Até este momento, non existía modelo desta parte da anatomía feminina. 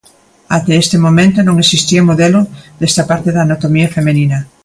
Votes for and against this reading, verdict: 0, 2, rejected